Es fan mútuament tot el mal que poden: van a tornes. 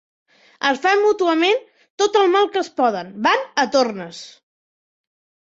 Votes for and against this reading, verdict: 0, 2, rejected